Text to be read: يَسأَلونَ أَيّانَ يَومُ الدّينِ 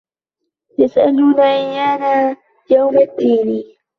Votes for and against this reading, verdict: 1, 2, rejected